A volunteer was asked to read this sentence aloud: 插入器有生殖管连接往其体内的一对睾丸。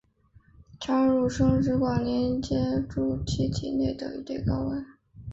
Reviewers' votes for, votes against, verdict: 0, 2, rejected